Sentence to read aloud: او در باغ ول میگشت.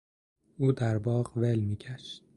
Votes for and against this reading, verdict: 2, 0, accepted